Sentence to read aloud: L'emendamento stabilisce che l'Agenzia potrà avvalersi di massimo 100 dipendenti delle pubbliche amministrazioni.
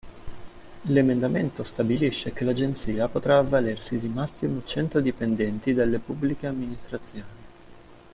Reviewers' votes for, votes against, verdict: 0, 2, rejected